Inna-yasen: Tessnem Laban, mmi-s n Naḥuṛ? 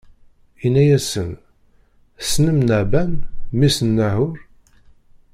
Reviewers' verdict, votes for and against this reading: rejected, 1, 2